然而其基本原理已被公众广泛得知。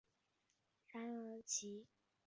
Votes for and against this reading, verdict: 0, 3, rejected